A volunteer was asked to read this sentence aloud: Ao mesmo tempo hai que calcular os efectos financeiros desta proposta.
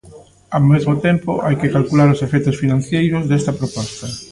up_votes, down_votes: 0, 2